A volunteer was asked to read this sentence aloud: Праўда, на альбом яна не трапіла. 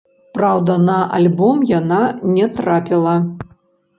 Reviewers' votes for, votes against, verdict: 0, 2, rejected